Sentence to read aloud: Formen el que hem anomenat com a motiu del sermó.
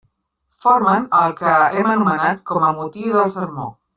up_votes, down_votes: 1, 2